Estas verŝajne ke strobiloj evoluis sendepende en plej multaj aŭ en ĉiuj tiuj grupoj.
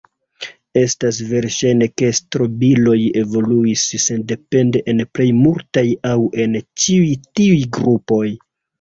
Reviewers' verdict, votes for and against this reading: rejected, 0, 2